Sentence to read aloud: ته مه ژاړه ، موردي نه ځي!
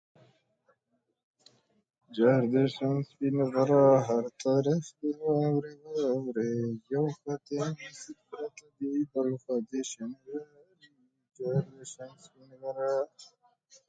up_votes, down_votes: 0, 2